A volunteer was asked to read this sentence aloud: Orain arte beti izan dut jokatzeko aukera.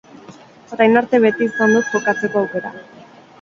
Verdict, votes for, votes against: accepted, 6, 0